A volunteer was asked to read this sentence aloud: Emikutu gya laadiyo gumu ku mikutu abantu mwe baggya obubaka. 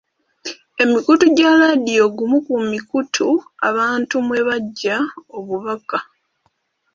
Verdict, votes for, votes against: accepted, 2, 0